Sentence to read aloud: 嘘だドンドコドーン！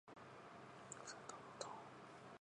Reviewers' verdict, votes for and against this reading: rejected, 2, 5